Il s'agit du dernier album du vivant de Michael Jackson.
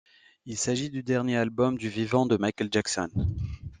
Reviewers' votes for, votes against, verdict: 2, 0, accepted